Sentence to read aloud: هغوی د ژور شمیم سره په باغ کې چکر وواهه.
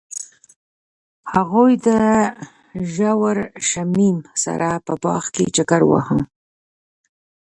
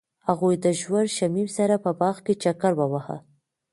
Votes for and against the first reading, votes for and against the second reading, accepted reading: 0, 2, 2, 1, second